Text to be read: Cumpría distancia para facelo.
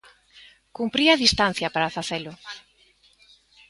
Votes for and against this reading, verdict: 2, 0, accepted